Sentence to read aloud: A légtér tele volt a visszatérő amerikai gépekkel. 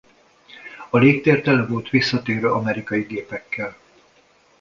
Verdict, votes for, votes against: rejected, 1, 2